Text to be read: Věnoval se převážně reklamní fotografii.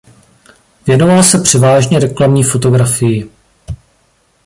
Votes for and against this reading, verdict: 2, 0, accepted